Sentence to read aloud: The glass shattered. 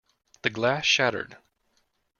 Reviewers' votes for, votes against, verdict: 2, 0, accepted